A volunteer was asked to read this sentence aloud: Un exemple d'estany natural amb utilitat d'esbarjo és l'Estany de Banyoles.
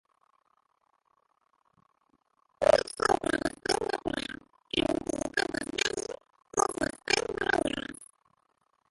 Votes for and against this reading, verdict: 0, 2, rejected